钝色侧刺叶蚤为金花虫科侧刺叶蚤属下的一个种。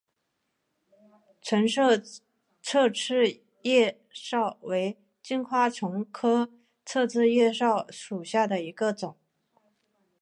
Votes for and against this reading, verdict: 2, 1, accepted